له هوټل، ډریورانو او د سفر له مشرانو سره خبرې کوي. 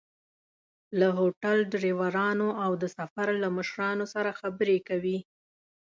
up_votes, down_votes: 2, 0